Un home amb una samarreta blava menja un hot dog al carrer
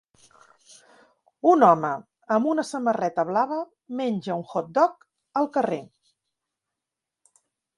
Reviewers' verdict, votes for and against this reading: accepted, 2, 0